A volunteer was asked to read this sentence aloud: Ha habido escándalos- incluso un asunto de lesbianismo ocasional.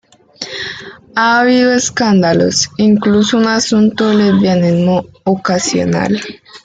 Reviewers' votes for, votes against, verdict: 2, 1, accepted